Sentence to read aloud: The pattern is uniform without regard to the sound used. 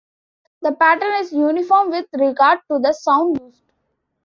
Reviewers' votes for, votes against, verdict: 0, 2, rejected